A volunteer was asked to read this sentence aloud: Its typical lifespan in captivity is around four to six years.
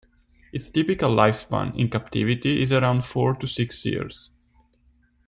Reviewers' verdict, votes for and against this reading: accepted, 2, 0